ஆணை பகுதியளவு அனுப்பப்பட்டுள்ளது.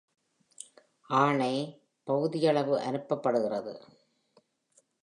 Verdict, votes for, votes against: rejected, 1, 2